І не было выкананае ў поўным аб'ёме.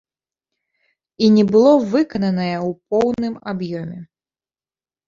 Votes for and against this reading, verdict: 2, 0, accepted